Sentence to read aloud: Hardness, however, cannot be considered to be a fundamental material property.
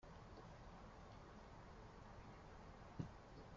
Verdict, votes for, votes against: rejected, 0, 2